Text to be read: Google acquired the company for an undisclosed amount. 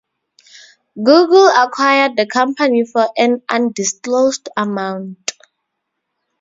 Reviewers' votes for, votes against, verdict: 4, 0, accepted